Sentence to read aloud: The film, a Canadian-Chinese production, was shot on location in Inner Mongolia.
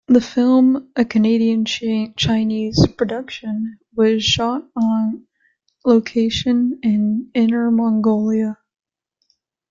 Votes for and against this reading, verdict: 2, 1, accepted